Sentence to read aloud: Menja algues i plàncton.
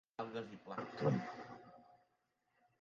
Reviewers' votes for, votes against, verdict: 1, 2, rejected